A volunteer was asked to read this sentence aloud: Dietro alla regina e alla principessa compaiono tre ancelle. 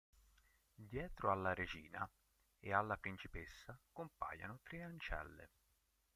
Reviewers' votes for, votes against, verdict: 2, 0, accepted